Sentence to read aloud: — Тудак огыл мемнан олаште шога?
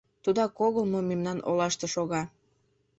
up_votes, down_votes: 0, 2